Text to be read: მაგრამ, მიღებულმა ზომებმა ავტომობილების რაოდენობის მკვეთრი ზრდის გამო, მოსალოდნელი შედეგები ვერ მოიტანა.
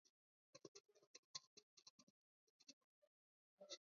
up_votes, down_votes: 0, 2